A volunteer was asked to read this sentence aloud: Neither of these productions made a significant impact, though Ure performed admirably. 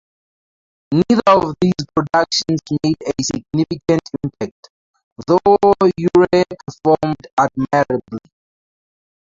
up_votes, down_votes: 0, 2